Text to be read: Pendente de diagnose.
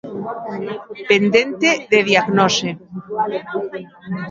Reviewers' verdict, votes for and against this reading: accepted, 2, 0